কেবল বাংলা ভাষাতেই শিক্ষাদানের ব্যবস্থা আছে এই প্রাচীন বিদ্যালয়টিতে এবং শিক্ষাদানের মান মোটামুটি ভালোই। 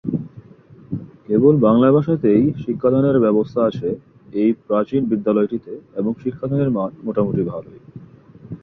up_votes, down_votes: 2, 0